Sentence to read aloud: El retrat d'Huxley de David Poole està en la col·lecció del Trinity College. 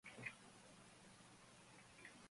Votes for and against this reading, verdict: 0, 2, rejected